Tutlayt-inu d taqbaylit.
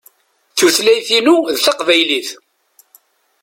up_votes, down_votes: 1, 2